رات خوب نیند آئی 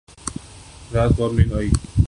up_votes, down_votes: 1, 2